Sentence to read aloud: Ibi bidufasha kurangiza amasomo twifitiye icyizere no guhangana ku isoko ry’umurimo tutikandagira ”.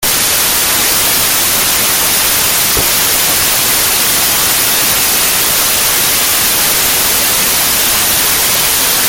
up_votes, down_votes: 0, 2